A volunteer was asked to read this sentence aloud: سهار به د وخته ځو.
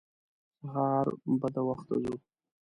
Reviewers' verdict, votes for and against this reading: rejected, 1, 2